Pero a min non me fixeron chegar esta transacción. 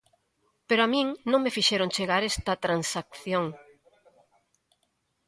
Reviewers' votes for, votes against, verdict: 2, 0, accepted